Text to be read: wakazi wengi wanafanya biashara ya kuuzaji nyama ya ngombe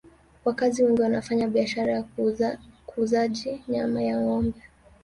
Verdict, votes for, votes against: rejected, 1, 2